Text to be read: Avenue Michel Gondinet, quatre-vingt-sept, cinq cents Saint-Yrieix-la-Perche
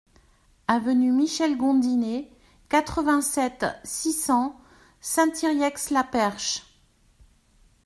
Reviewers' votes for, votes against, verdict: 0, 2, rejected